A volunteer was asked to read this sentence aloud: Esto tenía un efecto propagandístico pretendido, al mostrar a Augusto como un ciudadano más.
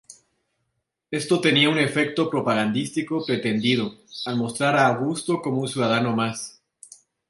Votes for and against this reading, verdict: 0, 2, rejected